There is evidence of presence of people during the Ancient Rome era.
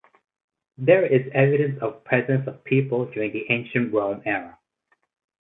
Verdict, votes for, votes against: rejected, 0, 2